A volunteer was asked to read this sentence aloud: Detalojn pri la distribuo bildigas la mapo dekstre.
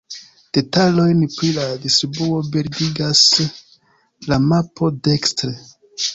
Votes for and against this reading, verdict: 3, 0, accepted